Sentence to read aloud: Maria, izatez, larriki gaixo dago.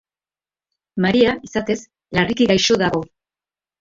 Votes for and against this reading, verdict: 3, 0, accepted